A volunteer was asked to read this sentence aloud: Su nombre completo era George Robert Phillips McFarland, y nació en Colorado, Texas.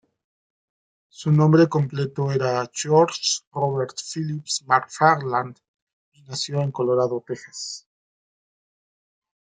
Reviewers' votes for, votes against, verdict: 2, 0, accepted